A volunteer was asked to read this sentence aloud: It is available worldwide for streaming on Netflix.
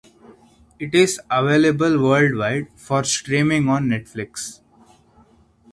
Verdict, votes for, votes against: accepted, 2, 0